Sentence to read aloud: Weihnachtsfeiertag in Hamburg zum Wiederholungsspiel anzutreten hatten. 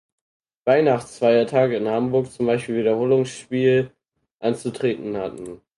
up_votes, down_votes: 0, 4